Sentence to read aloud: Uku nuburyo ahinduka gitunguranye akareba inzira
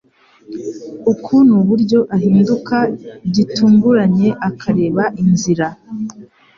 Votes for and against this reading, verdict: 2, 0, accepted